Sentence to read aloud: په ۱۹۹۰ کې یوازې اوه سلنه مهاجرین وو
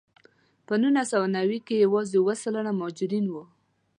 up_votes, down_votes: 0, 2